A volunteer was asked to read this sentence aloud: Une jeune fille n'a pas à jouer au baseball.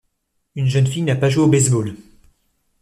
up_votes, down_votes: 0, 2